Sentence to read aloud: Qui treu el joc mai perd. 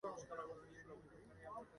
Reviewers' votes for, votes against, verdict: 0, 2, rejected